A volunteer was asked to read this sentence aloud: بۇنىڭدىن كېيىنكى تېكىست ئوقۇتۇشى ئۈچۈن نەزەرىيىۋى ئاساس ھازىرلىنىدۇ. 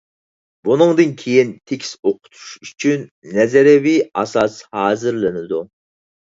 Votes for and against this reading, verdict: 0, 4, rejected